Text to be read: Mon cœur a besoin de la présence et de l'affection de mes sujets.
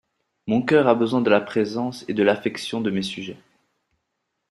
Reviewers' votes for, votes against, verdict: 2, 0, accepted